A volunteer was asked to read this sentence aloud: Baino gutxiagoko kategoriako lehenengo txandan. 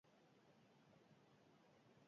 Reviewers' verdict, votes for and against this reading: rejected, 0, 8